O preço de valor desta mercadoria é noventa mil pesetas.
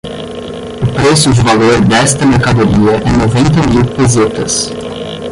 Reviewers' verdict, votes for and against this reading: rejected, 0, 10